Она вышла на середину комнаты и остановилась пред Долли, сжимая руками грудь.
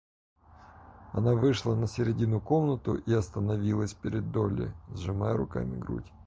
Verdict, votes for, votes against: rejected, 0, 4